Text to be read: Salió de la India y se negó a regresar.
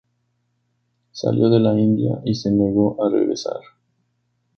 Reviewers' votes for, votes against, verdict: 2, 0, accepted